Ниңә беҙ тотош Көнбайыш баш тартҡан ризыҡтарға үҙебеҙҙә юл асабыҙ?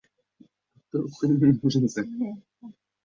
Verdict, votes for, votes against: rejected, 0, 2